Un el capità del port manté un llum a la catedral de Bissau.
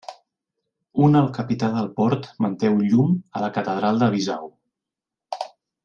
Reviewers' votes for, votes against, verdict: 1, 2, rejected